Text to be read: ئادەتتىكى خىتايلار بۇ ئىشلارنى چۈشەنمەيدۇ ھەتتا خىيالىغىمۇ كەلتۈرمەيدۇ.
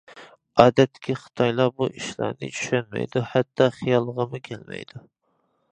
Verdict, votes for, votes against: rejected, 0, 2